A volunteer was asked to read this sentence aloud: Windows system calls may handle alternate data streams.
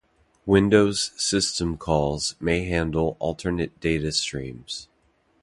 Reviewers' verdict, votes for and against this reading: accepted, 2, 0